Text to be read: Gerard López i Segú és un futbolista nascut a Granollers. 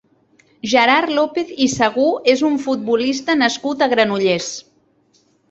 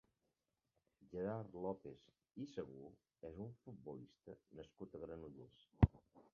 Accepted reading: first